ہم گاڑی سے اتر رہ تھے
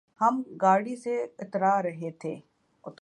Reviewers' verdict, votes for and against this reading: rejected, 1, 3